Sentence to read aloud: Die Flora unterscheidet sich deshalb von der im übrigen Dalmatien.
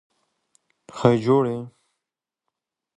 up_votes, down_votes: 0, 2